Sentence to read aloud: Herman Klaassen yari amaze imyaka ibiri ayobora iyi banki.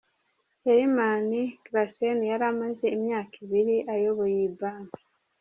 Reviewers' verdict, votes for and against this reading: accepted, 2, 0